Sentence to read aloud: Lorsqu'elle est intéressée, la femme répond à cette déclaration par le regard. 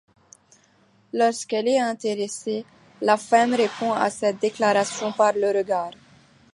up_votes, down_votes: 2, 0